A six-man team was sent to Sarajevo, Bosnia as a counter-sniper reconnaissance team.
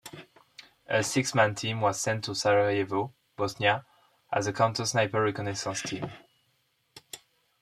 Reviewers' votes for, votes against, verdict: 2, 0, accepted